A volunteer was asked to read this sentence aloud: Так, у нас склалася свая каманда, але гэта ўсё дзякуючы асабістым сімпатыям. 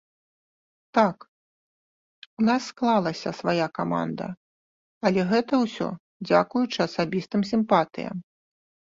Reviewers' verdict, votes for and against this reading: accepted, 2, 0